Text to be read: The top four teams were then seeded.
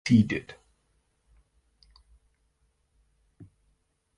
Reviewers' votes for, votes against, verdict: 0, 2, rejected